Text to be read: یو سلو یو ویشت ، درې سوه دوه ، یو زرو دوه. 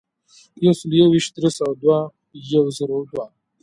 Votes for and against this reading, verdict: 2, 0, accepted